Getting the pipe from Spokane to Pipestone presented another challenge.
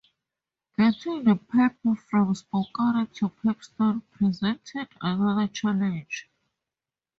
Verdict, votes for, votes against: rejected, 0, 2